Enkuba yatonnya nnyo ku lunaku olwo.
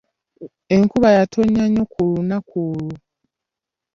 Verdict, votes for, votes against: accepted, 2, 0